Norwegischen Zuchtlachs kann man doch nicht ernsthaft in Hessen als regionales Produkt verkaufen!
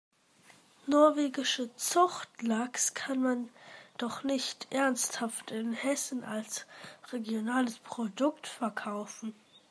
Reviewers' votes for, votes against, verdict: 1, 2, rejected